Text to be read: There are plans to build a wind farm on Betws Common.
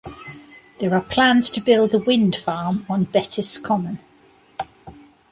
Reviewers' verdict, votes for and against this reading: accepted, 2, 0